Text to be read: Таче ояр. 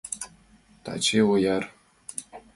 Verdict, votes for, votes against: accepted, 2, 0